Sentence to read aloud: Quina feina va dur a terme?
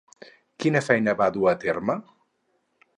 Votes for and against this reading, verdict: 4, 0, accepted